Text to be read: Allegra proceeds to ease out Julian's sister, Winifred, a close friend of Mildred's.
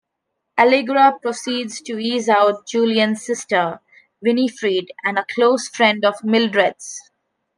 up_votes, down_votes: 0, 2